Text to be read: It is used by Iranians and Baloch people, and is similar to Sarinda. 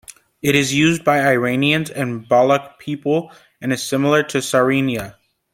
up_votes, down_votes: 2, 3